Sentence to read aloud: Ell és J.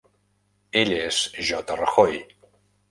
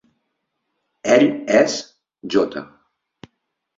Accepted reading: second